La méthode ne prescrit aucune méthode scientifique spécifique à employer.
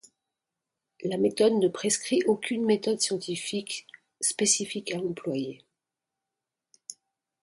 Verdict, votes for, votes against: accepted, 2, 0